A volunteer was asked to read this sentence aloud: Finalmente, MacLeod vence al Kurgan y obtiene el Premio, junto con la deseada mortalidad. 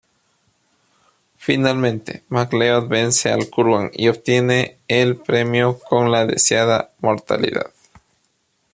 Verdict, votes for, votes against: rejected, 0, 2